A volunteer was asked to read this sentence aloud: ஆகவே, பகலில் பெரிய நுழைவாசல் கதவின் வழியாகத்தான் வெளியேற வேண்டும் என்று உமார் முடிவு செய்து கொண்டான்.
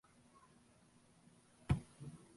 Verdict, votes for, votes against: rejected, 0, 2